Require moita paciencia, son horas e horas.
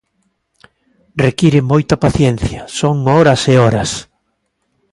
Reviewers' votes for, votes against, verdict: 2, 0, accepted